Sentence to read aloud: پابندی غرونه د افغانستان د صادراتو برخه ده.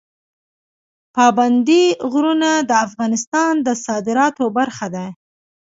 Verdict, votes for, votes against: accepted, 2, 0